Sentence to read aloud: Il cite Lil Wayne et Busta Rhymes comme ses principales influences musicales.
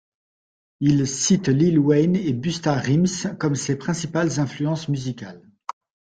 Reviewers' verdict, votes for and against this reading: rejected, 1, 2